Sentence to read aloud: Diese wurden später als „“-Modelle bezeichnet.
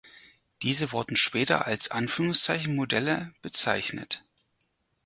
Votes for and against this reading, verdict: 2, 4, rejected